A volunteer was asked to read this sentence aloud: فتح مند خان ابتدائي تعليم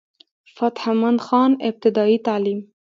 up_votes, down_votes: 2, 0